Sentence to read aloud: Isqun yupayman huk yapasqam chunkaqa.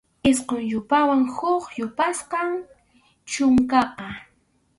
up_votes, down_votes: 0, 2